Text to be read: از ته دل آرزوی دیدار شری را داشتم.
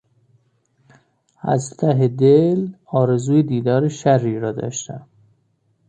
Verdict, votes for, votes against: rejected, 0, 2